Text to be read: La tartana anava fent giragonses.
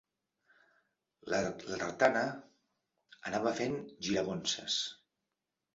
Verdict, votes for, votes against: rejected, 0, 2